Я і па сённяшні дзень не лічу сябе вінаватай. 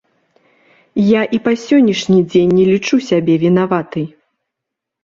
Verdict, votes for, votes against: accepted, 2, 0